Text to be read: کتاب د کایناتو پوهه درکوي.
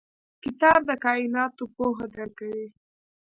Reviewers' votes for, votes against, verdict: 1, 2, rejected